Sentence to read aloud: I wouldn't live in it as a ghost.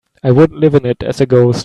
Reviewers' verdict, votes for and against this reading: rejected, 0, 2